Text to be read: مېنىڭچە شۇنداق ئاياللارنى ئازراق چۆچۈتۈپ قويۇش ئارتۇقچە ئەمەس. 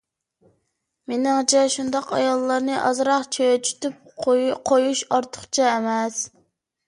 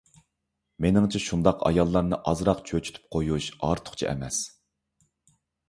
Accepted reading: second